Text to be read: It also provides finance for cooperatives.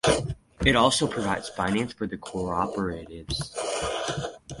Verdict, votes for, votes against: accepted, 4, 2